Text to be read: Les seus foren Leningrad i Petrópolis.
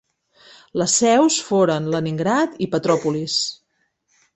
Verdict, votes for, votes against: accepted, 3, 0